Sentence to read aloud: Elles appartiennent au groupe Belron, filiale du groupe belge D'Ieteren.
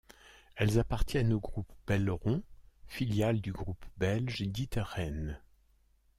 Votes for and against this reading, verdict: 2, 0, accepted